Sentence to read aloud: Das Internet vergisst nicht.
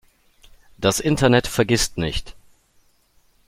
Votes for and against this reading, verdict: 2, 0, accepted